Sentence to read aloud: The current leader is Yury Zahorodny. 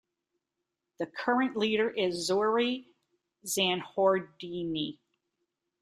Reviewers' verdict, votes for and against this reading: rejected, 1, 2